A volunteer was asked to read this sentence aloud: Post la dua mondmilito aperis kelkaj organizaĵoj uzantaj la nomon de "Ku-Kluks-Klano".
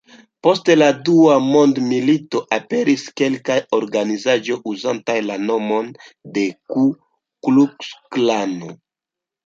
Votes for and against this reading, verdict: 1, 2, rejected